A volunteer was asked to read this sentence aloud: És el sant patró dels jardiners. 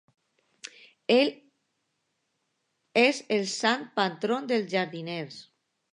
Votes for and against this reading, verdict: 0, 2, rejected